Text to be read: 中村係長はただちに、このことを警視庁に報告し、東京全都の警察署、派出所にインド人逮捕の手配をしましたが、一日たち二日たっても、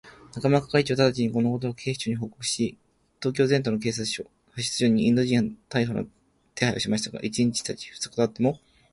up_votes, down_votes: 3, 4